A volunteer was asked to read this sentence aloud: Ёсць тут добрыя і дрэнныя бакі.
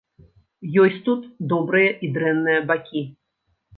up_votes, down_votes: 2, 0